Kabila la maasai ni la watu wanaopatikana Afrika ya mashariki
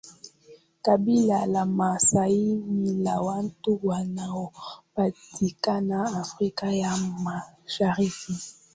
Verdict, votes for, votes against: accepted, 2, 0